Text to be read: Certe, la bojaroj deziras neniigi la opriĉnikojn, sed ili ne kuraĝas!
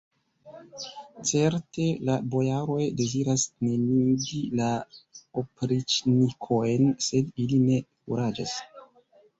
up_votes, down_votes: 1, 2